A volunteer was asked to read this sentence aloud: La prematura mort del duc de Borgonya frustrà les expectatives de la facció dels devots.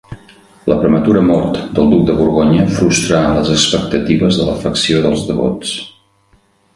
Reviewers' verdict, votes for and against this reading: rejected, 1, 2